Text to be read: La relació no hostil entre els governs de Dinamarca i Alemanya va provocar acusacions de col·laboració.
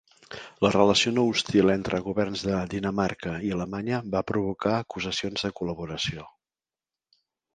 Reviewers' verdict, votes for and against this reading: rejected, 0, 2